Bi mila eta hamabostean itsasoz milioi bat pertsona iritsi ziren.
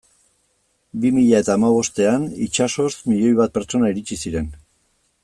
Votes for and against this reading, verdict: 2, 0, accepted